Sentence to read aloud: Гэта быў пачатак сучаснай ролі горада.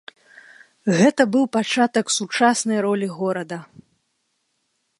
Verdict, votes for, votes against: accepted, 2, 0